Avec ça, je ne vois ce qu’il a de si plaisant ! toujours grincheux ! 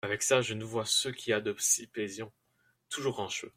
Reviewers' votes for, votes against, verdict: 1, 2, rejected